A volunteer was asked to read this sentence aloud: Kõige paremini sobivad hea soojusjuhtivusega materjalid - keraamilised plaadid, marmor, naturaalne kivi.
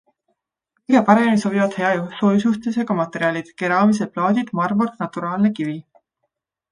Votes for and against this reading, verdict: 2, 1, accepted